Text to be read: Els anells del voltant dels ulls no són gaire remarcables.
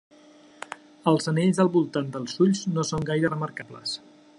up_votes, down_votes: 3, 0